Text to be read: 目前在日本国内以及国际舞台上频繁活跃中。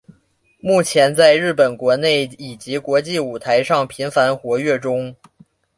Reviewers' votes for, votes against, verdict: 2, 0, accepted